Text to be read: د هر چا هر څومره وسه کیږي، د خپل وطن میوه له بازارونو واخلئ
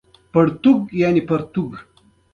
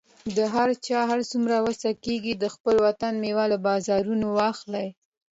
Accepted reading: second